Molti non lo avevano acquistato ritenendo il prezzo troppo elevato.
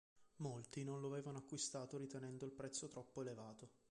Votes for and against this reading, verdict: 3, 1, accepted